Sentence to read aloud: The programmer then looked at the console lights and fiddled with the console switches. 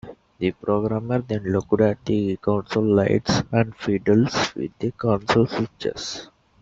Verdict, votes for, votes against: rejected, 0, 2